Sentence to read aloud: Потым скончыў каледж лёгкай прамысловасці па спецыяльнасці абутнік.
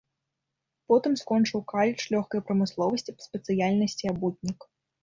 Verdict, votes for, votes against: rejected, 1, 2